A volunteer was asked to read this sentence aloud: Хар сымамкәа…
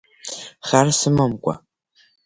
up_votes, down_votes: 2, 0